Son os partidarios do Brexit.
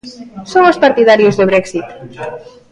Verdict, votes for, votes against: accepted, 2, 1